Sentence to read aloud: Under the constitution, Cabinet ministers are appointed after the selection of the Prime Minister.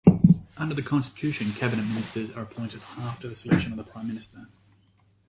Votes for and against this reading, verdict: 2, 0, accepted